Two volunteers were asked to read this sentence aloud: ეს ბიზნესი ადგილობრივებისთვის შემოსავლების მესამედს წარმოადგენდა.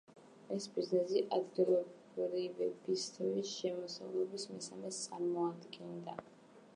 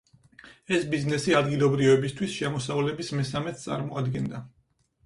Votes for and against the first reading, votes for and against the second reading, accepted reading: 0, 2, 4, 0, second